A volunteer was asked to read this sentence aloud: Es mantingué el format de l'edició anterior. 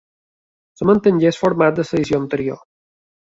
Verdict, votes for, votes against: rejected, 1, 2